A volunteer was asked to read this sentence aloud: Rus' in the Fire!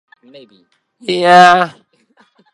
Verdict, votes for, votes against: rejected, 0, 4